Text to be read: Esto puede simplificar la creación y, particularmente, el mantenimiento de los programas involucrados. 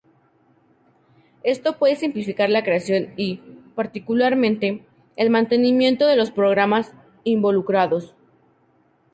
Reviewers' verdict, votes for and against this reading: accepted, 4, 0